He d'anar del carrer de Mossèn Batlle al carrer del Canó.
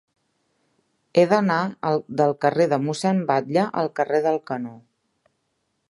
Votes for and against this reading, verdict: 0, 2, rejected